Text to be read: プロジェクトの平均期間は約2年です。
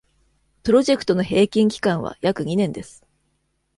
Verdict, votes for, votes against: rejected, 0, 2